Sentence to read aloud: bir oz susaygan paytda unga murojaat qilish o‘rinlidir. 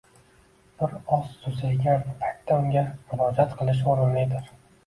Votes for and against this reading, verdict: 2, 1, accepted